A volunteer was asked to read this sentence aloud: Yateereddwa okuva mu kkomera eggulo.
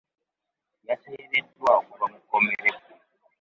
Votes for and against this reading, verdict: 0, 2, rejected